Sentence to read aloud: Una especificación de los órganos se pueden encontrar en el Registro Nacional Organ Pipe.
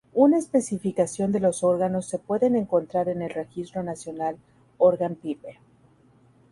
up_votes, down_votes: 2, 0